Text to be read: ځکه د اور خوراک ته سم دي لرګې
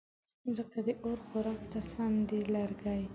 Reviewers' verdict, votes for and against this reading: accepted, 2, 0